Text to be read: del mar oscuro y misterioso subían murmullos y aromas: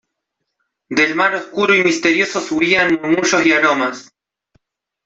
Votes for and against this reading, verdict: 1, 2, rejected